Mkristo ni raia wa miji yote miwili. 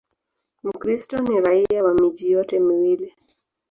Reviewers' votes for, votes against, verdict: 4, 0, accepted